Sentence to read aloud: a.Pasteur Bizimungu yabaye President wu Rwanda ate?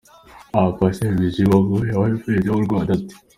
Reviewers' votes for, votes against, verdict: 2, 1, accepted